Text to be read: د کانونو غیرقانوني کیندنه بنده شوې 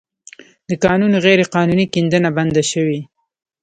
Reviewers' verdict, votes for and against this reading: rejected, 0, 3